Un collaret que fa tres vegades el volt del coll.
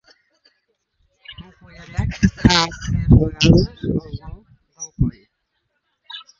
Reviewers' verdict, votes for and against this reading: rejected, 0, 3